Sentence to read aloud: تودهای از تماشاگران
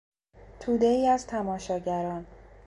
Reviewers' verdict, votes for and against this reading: accepted, 2, 0